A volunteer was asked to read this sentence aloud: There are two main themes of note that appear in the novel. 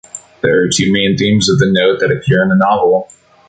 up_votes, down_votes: 0, 2